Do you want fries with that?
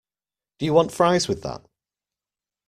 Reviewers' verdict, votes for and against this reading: accepted, 2, 0